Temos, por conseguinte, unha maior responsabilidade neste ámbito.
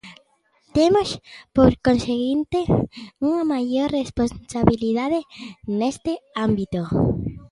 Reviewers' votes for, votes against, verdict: 2, 0, accepted